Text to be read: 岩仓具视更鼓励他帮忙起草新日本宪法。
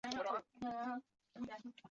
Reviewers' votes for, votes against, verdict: 0, 5, rejected